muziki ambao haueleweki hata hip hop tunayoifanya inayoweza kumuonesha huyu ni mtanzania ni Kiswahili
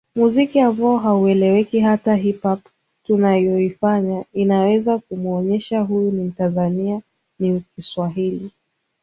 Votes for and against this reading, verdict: 2, 1, accepted